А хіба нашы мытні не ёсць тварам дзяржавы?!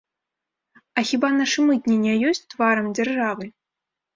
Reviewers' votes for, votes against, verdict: 3, 0, accepted